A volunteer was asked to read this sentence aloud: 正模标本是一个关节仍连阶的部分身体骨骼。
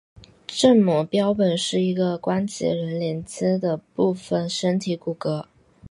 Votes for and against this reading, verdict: 2, 0, accepted